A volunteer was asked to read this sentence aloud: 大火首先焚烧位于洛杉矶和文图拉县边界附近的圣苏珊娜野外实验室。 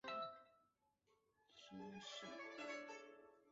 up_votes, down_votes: 1, 3